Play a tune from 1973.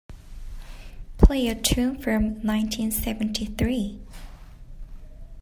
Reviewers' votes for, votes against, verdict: 0, 2, rejected